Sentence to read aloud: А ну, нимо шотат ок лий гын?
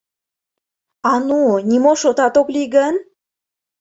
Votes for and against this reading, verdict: 2, 0, accepted